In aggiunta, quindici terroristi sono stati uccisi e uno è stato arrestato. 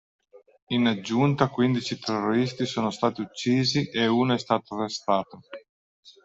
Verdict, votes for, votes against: rejected, 1, 2